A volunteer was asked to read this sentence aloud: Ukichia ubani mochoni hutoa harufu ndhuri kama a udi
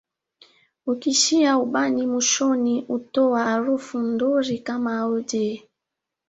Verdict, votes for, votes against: rejected, 1, 2